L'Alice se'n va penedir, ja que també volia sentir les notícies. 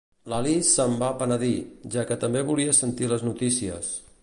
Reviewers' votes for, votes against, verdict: 2, 0, accepted